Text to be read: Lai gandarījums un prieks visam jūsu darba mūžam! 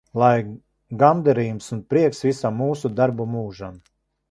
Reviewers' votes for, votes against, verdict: 0, 2, rejected